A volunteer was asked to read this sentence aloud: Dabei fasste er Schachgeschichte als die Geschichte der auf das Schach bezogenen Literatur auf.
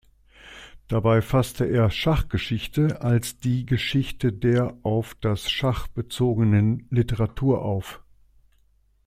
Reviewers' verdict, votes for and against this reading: accepted, 2, 0